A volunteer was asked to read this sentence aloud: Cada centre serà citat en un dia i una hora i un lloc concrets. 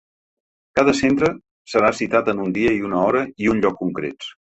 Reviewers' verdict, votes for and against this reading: accepted, 2, 0